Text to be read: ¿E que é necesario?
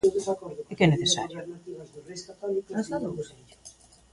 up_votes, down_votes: 0, 2